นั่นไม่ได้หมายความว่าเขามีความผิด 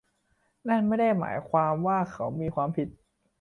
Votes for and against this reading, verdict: 2, 0, accepted